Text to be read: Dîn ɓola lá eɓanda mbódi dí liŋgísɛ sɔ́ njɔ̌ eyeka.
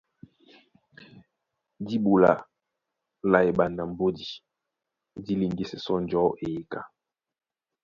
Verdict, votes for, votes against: accepted, 2, 0